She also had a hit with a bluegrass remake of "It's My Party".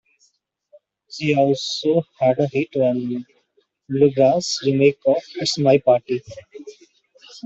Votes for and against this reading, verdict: 0, 2, rejected